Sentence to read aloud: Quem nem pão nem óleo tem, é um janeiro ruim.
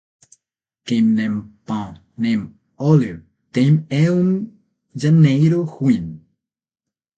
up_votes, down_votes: 3, 6